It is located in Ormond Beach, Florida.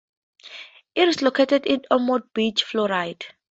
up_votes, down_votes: 2, 0